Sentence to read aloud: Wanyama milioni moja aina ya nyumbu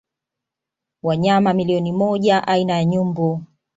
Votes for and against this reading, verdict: 1, 2, rejected